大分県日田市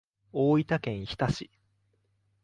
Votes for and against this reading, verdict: 2, 0, accepted